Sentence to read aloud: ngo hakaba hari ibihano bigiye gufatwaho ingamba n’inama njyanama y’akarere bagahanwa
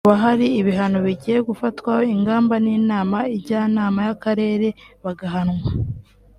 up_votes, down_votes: 2, 1